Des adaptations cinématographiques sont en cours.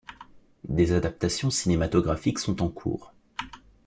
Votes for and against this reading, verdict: 2, 0, accepted